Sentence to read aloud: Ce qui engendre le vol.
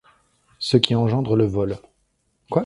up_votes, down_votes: 1, 2